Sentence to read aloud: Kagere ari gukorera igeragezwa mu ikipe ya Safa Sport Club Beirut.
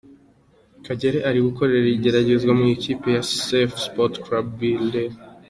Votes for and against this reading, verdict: 2, 0, accepted